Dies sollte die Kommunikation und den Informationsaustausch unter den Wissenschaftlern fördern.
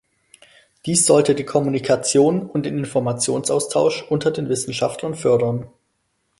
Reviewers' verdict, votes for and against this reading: accepted, 4, 2